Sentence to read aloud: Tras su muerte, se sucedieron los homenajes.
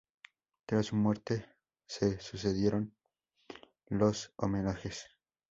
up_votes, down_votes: 2, 2